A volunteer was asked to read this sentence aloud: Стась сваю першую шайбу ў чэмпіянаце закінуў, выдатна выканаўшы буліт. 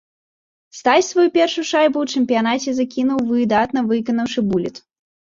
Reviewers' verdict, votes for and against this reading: rejected, 0, 2